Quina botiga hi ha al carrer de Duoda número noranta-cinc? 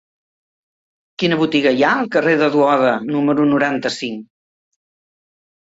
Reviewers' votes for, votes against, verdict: 3, 0, accepted